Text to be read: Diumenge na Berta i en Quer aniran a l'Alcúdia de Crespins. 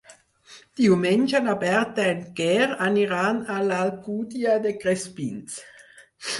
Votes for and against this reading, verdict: 2, 4, rejected